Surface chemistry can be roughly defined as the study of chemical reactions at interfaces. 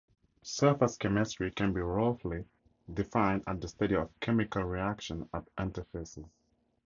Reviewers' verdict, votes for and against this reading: accepted, 2, 0